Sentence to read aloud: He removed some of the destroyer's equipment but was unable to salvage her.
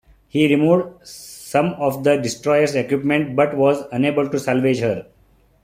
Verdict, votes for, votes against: accepted, 2, 0